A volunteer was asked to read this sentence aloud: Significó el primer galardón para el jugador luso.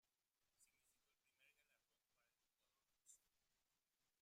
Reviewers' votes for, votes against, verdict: 0, 2, rejected